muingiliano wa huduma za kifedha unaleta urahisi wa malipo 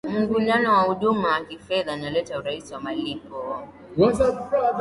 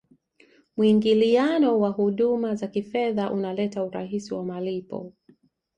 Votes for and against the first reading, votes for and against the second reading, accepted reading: 1, 2, 2, 0, second